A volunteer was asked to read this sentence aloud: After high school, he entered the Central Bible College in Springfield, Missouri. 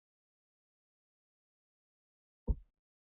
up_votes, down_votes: 0, 2